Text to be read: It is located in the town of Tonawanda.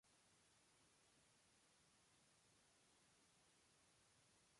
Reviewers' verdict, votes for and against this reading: rejected, 0, 2